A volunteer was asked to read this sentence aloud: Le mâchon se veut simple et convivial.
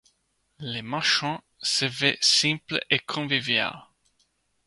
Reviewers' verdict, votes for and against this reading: rejected, 0, 2